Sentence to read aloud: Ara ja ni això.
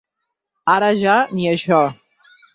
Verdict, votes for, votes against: accepted, 6, 0